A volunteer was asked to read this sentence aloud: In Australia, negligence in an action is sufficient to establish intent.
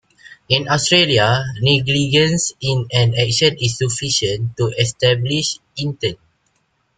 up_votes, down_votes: 2, 0